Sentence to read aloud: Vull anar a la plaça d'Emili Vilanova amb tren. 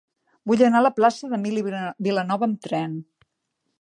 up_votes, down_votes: 0, 2